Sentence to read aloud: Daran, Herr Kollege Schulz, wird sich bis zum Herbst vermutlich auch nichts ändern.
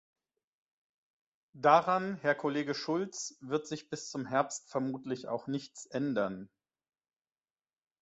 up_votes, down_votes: 2, 0